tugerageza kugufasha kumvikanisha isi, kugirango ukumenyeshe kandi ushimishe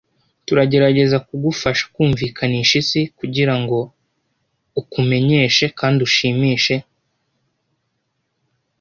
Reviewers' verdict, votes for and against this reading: rejected, 1, 2